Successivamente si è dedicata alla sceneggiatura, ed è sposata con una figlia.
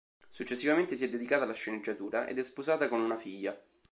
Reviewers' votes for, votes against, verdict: 5, 0, accepted